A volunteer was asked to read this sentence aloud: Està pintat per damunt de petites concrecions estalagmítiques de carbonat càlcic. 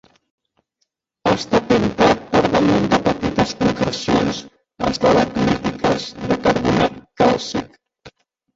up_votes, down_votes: 0, 3